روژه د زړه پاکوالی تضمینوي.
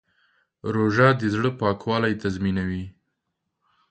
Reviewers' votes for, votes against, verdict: 2, 0, accepted